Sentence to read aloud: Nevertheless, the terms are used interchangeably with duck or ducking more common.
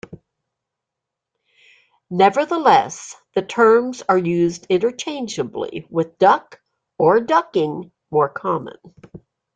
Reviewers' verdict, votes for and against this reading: accepted, 2, 0